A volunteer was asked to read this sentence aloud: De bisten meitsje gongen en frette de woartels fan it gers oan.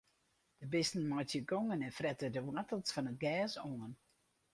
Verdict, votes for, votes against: rejected, 2, 2